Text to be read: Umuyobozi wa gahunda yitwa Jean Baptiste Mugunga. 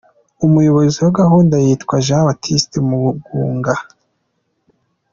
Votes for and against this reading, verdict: 2, 0, accepted